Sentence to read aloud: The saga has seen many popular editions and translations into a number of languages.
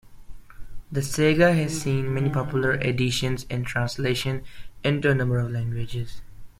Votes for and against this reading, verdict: 0, 2, rejected